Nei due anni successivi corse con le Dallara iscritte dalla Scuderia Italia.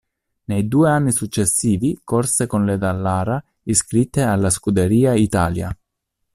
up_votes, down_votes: 1, 2